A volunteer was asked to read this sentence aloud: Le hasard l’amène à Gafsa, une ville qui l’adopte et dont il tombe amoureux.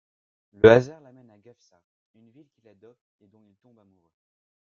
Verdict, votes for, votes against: rejected, 1, 2